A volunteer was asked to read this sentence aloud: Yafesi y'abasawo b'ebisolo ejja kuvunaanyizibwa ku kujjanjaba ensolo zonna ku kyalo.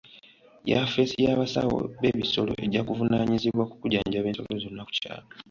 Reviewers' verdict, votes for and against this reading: accepted, 2, 0